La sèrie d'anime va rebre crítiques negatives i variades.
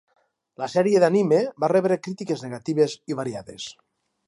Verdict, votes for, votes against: accepted, 4, 0